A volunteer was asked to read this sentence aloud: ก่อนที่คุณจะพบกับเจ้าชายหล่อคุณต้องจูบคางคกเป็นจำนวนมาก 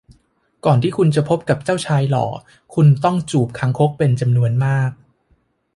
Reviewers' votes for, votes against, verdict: 2, 0, accepted